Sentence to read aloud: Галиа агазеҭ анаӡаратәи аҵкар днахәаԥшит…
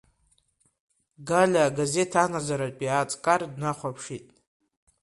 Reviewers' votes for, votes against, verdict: 2, 1, accepted